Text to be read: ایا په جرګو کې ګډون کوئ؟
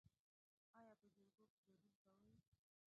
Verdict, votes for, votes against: rejected, 0, 2